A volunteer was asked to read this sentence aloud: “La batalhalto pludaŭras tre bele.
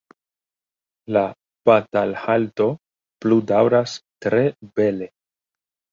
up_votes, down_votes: 2, 0